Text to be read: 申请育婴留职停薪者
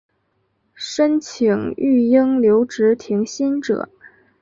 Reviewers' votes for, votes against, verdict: 2, 0, accepted